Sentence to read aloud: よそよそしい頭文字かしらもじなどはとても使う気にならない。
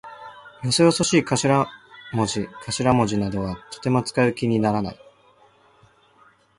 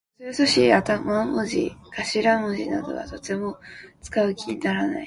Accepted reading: first